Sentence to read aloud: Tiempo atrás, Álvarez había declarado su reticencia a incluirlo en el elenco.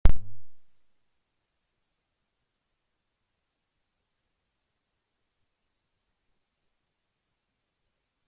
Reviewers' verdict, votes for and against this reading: rejected, 0, 2